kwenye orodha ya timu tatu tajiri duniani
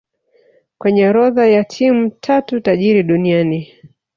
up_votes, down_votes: 3, 1